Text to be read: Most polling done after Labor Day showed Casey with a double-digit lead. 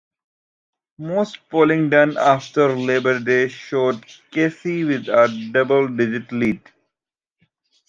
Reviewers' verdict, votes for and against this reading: accepted, 2, 0